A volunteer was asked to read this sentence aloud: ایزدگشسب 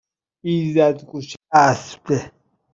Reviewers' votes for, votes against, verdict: 1, 2, rejected